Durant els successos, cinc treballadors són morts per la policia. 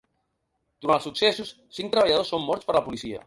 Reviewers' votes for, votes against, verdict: 2, 3, rejected